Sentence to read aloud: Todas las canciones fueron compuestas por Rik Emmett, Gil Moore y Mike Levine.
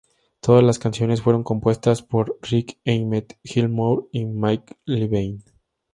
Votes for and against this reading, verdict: 2, 0, accepted